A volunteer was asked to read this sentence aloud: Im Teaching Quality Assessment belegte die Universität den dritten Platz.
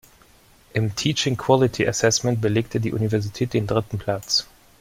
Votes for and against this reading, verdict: 2, 0, accepted